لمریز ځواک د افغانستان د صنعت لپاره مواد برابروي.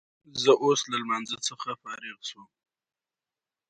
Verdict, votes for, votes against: accepted, 2, 0